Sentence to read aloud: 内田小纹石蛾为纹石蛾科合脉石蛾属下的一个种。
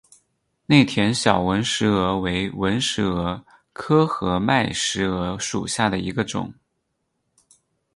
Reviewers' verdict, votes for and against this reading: rejected, 0, 4